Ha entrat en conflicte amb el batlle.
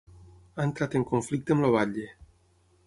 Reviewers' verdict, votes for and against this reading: rejected, 3, 6